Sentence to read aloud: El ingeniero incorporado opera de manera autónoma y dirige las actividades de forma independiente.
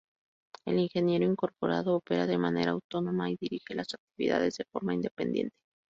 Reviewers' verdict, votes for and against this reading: rejected, 2, 2